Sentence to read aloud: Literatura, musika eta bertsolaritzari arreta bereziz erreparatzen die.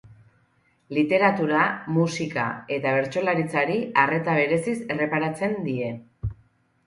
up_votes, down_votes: 4, 0